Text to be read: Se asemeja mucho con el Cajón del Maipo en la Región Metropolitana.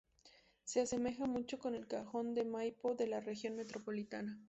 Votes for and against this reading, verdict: 2, 0, accepted